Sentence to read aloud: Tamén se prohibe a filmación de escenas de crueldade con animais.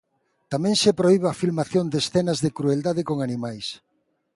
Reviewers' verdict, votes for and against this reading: accepted, 2, 0